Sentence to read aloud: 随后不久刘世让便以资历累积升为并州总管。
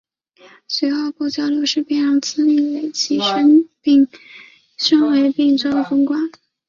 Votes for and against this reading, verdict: 4, 3, accepted